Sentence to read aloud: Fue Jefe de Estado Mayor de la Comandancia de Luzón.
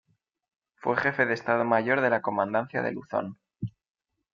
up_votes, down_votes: 2, 0